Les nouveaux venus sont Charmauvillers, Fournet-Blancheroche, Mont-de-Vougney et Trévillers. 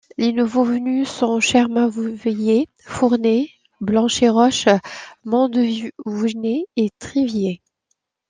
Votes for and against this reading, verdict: 1, 2, rejected